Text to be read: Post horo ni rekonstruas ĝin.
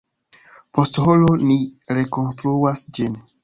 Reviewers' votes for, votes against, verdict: 2, 0, accepted